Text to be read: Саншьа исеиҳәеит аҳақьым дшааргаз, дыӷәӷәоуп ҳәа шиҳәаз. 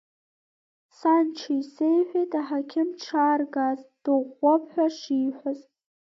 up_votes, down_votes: 2, 0